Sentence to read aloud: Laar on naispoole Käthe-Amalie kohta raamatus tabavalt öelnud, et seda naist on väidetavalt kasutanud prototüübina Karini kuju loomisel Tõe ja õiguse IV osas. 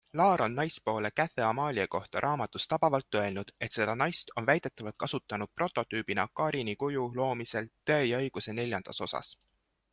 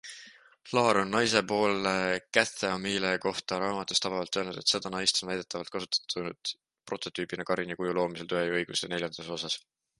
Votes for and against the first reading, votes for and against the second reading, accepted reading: 2, 0, 0, 2, first